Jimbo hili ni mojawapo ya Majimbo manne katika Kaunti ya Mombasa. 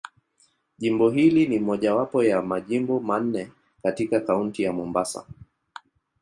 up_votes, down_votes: 2, 0